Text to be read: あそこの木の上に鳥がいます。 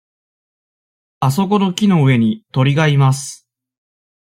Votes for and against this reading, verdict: 2, 0, accepted